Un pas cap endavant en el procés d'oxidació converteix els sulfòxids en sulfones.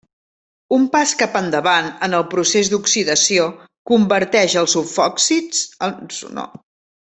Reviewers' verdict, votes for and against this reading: rejected, 0, 2